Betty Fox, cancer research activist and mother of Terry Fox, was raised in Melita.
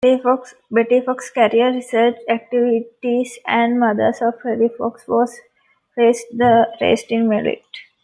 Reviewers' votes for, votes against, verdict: 0, 2, rejected